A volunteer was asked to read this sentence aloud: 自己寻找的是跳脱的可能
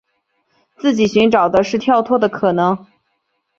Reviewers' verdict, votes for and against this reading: accepted, 2, 0